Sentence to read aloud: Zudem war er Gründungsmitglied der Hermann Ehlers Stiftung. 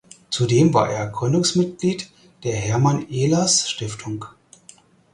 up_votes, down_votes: 4, 0